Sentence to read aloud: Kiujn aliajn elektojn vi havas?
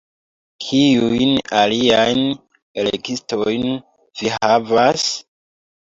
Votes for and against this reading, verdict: 1, 2, rejected